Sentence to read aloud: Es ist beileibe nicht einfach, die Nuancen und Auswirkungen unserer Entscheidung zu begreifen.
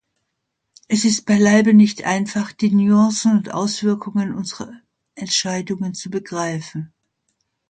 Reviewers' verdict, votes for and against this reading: rejected, 0, 2